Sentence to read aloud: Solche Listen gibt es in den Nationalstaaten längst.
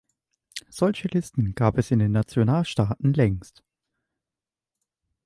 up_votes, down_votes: 0, 2